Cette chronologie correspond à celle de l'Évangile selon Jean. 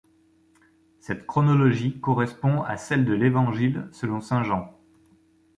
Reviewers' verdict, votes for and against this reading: rejected, 0, 2